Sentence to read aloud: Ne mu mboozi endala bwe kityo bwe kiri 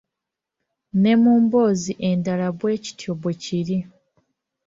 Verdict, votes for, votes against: accepted, 2, 1